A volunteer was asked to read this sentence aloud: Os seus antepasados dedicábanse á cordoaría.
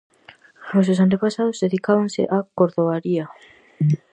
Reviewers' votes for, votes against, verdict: 4, 0, accepted